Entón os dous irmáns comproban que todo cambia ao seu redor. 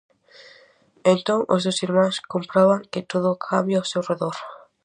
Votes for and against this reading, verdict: 0, 2, rejected